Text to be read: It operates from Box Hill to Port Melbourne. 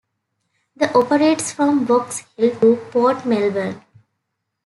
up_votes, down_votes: 2, 1